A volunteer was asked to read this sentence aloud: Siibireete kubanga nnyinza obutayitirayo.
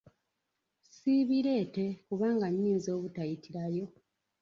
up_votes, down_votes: 1, 2